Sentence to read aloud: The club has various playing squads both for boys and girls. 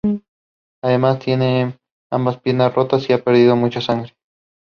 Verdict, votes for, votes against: rejected, 0, 2